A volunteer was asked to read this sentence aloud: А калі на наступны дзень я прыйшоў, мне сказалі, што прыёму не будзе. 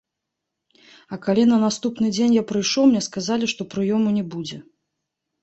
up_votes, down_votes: 1, 2